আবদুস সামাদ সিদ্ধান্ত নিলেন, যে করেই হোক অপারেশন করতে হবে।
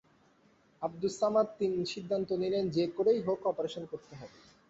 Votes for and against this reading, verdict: 0, 2, rejected